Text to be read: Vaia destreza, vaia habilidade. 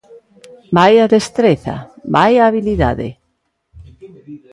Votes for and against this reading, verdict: 0, 2, rejected